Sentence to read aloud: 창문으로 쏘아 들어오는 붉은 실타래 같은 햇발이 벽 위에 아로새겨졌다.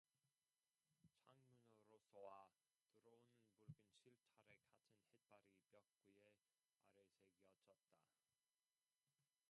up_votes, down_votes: 0, 2